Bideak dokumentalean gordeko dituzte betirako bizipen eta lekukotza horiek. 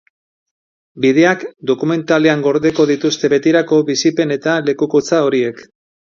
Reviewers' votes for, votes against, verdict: 2, 0, accepted